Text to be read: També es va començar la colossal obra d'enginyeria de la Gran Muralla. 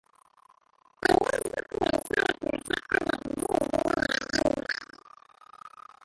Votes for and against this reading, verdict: 0, 2, rejected